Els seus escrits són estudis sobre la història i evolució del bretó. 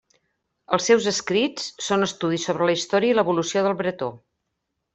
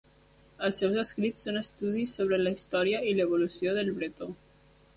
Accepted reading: first